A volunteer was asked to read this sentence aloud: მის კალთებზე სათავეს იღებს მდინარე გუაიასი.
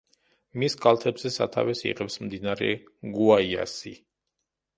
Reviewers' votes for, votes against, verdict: 2, 0, accepted